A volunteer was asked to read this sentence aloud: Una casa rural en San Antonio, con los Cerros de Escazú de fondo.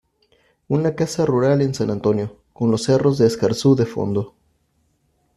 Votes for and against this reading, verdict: 0, 2, rejected